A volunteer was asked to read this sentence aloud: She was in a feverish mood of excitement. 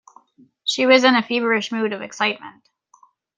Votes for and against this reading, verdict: 2, 0, accepted